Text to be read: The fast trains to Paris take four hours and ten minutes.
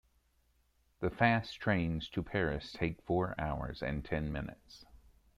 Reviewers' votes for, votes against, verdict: 2, 0, accepted